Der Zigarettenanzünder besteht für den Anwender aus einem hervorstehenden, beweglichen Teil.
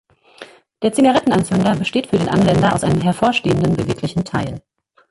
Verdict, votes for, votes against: accepted, 2, 1